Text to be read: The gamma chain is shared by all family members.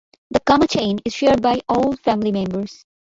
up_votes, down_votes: 2, 1